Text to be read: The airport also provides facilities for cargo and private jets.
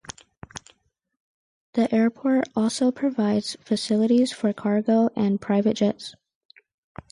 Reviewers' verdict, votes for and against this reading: accepted, 4, 0